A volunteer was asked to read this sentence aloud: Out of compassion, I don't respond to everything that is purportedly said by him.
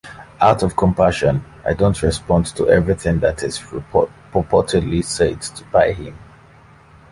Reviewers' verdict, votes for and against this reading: accepted, 2, 1